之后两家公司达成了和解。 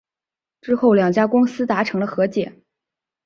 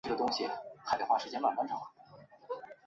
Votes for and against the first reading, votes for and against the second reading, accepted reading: 3, 0, 1, 3, first